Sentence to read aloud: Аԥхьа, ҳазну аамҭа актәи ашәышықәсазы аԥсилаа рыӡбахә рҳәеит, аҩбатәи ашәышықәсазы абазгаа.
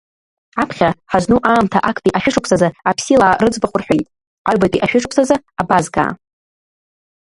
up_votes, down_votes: 2, 0